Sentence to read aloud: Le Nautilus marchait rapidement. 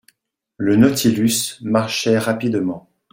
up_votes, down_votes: 2, 0